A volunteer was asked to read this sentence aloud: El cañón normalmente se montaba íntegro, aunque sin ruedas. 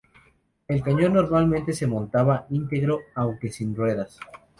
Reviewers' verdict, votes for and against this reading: rejected, 0, 2